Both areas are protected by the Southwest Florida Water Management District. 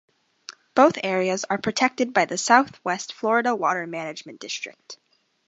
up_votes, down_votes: 2, 0